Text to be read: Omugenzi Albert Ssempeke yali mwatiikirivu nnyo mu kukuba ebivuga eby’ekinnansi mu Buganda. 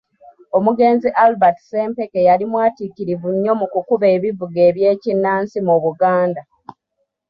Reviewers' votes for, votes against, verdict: 0, 2, rejected